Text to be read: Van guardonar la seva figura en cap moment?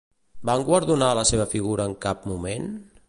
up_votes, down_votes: 2, 0